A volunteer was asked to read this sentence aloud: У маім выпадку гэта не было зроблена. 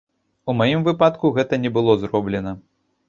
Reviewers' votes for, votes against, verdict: 0, 2, rejected